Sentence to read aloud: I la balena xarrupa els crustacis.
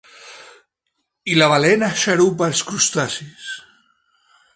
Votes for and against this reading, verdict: 2, 3, rejected